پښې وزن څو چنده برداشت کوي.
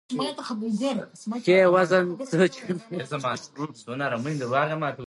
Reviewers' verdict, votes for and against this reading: rejected, 0, 2